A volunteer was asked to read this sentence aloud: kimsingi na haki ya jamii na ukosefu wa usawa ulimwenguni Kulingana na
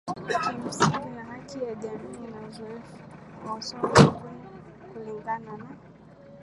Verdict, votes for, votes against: rejected, 0, 2